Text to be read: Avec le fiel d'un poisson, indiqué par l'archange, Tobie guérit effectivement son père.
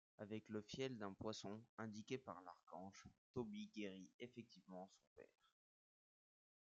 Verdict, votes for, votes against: accepted, 2, 1